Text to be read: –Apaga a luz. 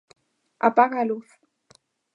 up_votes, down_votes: 2, 0